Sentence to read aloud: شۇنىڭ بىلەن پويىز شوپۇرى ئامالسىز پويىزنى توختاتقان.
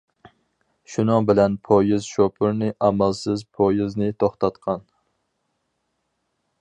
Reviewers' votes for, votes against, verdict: 2, 4, rejected